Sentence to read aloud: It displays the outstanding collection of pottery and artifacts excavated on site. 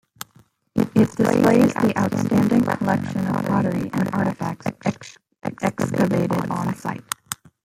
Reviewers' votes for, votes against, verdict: 1, 2, rejected